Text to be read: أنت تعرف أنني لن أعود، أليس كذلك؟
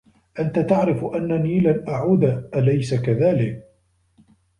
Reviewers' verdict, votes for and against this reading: accepted, 2, 0